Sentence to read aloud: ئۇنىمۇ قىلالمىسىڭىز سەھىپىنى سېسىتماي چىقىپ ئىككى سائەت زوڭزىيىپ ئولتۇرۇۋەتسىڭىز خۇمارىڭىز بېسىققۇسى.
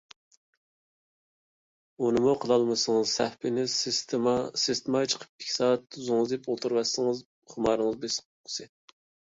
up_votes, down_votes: 0, 2